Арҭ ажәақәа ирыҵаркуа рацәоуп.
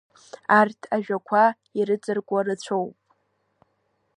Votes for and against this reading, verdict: 1, 2, rejected